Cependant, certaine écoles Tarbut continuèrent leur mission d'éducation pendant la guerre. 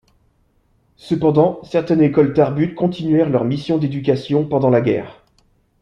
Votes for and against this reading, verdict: 1, 2, rejected